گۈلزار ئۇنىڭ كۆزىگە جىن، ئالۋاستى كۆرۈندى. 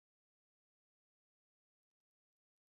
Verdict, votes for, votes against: rejected, 0, 2